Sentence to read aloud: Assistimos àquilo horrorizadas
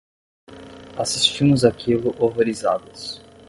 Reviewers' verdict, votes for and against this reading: rejected, 5, 10